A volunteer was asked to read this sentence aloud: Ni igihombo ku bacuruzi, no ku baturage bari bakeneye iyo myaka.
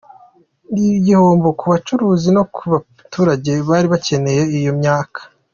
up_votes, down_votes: 2, 1